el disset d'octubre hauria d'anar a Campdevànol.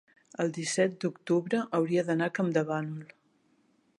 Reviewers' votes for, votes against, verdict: 3, 0, accepted